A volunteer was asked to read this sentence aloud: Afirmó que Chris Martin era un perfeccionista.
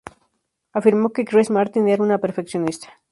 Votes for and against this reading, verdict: 2, 2, rejected